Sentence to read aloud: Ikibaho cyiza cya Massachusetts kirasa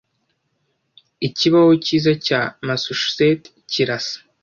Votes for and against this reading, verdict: 2, 0, accepted